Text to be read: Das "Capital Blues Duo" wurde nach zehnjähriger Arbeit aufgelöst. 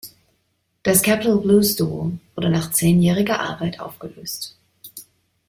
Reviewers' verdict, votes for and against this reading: rejected, 0, 2